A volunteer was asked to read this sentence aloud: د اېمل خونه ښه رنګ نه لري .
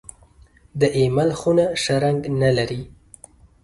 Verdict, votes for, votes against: accepted, 2, 0